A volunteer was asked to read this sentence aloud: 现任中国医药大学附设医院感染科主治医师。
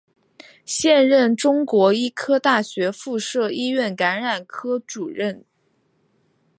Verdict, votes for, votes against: rejected, 1, 3